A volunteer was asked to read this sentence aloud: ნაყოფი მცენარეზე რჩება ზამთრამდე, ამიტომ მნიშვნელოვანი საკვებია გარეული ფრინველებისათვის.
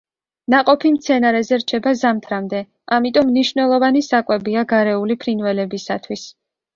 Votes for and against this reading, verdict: 2, 0, accepted